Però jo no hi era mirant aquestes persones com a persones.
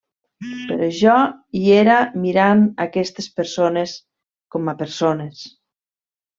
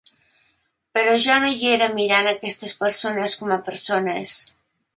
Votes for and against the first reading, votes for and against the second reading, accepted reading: 1, 2, 2, 0, second